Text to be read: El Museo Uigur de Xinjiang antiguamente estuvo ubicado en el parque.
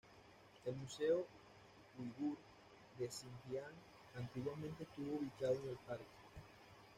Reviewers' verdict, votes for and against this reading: rejected, 1, 2